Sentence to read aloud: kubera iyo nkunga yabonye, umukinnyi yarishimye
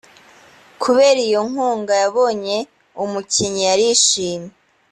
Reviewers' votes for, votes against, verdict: 2, 0, accepted